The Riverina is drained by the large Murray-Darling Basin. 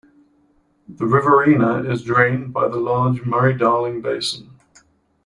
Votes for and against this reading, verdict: 1, 2, rejected